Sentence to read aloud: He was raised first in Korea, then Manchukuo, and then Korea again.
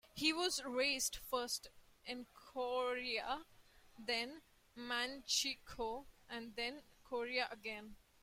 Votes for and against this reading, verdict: 2, 0, accepted